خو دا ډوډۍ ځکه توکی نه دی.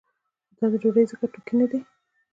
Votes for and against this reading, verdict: 2, 0, accepted